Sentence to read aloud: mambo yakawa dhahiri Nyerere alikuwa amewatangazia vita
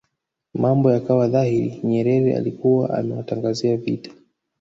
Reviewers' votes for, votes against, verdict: 1, 2, rejected